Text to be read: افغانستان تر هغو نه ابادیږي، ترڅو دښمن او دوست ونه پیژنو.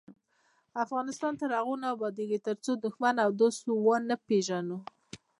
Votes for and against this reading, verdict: 0, 2, rejected